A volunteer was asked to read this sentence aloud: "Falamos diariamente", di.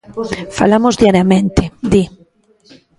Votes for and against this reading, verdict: 1, 2, rejected